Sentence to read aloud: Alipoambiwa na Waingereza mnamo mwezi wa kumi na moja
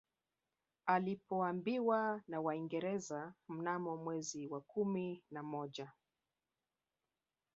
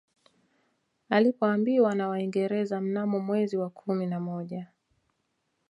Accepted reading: second